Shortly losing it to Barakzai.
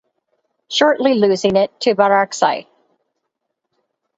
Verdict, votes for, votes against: accepted, 4, 0